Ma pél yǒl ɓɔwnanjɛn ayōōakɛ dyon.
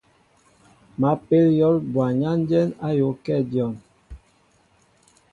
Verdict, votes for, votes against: accepted, 2, 0